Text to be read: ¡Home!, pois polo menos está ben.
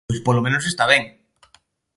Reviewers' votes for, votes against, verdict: 1, 2, rejected